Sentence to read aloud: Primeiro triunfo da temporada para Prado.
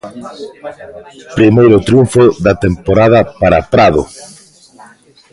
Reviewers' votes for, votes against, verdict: 0, 2, rejected